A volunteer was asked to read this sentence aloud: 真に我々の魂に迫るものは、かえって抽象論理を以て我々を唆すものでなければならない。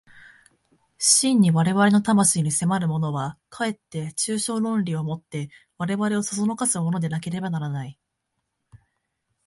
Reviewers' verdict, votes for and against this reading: accepted, 3, 0